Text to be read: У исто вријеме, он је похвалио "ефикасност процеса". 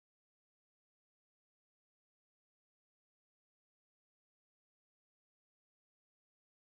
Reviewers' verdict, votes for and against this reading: rejected, 0, 2